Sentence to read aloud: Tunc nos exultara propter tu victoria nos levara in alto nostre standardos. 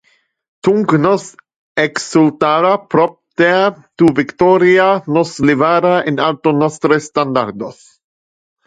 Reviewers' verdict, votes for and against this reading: rejected, 0, 2